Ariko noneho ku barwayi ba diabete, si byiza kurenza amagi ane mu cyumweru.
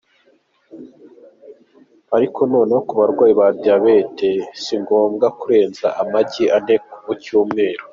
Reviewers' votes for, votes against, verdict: 0, 2, rejected